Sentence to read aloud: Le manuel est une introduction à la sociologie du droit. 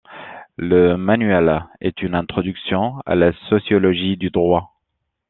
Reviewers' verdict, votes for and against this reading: accepted, 2, 0